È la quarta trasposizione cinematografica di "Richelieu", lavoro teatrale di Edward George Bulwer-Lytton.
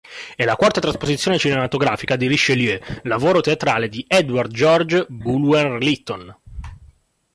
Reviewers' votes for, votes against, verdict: 2, 1, accepted